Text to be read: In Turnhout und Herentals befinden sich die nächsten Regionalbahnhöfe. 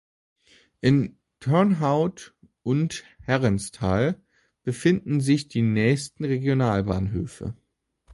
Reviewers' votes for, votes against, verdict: 0, 3, rejected